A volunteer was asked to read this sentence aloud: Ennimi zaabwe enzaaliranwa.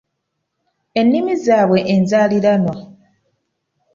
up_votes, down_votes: 2, 0